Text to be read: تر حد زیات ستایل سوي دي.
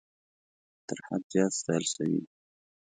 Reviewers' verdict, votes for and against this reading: accepted, 2, 0